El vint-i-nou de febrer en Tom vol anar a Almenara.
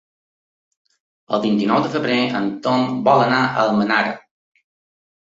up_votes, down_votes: 3, 0